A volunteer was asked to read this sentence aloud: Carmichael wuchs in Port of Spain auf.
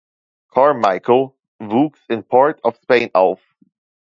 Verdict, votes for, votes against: rejected, 1, 2